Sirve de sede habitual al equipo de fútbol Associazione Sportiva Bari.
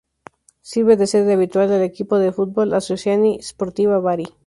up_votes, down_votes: 0, 2